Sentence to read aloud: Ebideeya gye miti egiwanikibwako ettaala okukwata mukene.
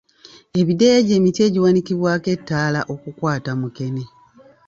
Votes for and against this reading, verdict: 0, 2, rejected